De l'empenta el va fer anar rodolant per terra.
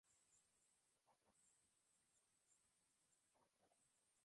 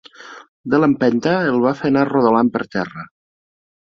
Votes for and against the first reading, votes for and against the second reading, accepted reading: 0, 2, 4, 0, second